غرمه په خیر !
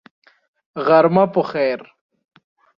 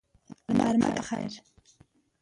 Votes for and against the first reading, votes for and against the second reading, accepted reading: 2, 0, 1, 2, first